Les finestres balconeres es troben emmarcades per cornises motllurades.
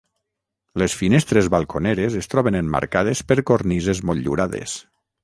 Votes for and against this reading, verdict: 6, 0, accepted